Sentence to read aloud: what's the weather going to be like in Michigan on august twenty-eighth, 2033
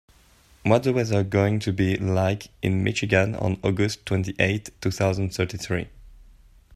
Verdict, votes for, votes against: rejected, 0, 2